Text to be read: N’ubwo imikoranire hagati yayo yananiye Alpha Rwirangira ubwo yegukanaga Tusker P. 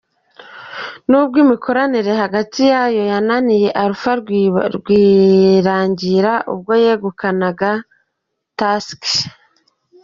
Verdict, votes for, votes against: rejected, 1, 2